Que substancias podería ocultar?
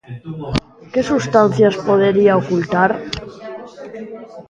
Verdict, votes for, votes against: rejected, 0, 2